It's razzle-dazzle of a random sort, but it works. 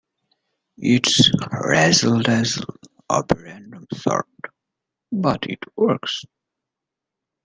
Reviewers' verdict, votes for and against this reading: accepted, 2, 0